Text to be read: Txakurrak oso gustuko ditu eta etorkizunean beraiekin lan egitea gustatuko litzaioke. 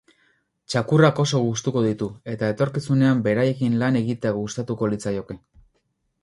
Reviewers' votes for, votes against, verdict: 6, 0, accepted